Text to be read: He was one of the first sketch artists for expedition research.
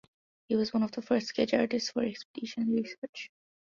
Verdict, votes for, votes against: accepted, 2, 1